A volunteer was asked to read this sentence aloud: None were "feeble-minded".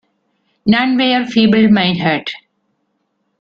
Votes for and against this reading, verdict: 2, 1, accepted